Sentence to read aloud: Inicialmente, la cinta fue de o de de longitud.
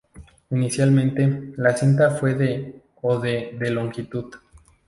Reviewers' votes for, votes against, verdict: 2, 0, accepted